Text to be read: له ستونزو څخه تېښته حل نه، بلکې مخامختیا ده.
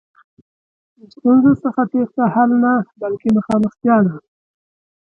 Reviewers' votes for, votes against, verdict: 3, 0, accepted